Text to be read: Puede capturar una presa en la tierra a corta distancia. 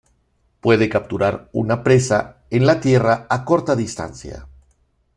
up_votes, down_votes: 2, 0